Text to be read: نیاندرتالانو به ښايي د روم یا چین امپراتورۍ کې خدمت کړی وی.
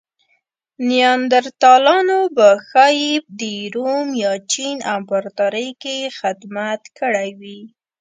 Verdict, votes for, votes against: rejected, 1, 2